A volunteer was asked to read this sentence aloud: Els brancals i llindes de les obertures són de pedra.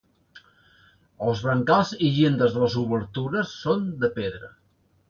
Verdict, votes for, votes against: rejected, 1, 2